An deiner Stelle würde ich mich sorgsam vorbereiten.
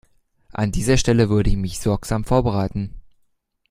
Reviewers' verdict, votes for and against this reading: rejected, 0, 2